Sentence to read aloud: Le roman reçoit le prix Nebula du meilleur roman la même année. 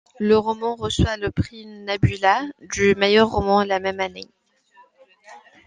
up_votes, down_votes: 2, 0